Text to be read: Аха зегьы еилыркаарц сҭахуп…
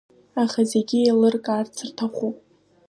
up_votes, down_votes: 0, 2